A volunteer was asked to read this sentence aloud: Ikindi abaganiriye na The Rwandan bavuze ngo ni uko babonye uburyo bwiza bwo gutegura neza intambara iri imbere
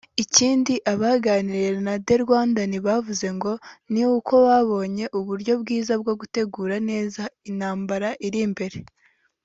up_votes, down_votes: 2, 0